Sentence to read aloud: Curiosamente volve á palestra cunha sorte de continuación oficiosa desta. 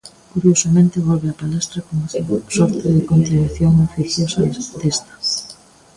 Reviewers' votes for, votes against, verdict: 0, 2, rejected